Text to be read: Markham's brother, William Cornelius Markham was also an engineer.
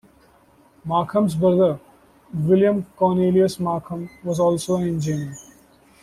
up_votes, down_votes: 0, 2